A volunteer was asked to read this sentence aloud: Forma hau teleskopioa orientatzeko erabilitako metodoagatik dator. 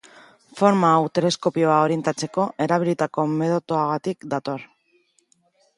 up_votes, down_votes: 0, 2